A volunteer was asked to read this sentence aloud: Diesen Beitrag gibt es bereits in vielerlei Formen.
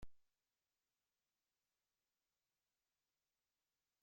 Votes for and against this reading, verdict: 0, 2, rejected